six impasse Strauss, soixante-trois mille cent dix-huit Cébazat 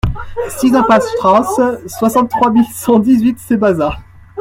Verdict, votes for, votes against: rejected, 0, 2